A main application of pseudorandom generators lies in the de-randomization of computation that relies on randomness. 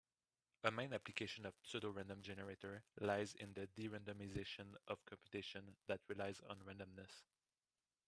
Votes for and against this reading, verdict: 0, 2, rejected